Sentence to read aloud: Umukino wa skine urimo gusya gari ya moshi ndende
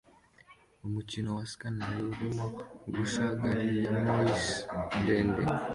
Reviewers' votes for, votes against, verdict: 2, 0, accepted